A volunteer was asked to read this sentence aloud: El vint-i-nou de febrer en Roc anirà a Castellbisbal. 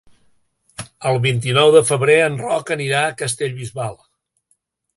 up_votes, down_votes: 3, 0